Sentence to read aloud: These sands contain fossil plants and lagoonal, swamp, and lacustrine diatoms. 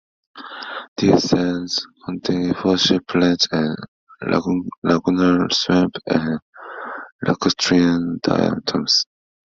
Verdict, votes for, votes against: rejected, 0, 2